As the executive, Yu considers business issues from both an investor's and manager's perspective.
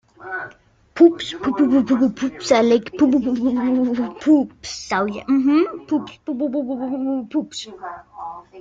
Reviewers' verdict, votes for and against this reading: rejected, 0, 2